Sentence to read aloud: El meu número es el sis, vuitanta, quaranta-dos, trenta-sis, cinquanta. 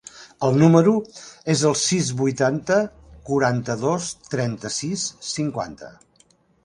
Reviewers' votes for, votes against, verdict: 1, 2, rejected